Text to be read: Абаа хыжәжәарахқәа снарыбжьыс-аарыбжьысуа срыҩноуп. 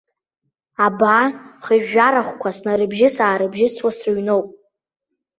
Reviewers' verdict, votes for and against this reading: rejected, 1, 2